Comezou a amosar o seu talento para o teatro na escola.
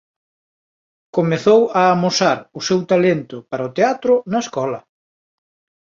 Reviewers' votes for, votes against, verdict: 2, 0, accepted